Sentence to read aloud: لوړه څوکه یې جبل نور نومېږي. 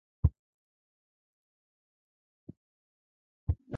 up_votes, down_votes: 0, 2